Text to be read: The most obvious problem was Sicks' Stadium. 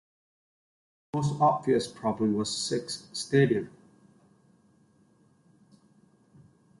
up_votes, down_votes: 0, 2